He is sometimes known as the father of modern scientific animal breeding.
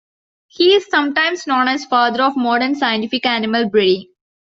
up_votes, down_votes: 1, 2